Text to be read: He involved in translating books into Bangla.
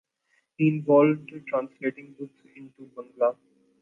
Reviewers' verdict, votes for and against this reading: accepted, 2, 1